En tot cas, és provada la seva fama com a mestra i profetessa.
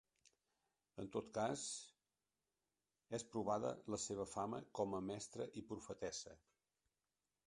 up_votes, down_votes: 3, 0